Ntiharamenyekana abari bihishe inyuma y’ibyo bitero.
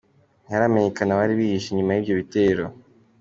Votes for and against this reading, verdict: 2, 0, accepted